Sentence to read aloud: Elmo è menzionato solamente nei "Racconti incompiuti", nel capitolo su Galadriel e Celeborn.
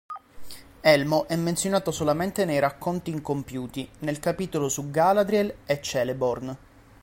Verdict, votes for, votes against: accepted, 2, 0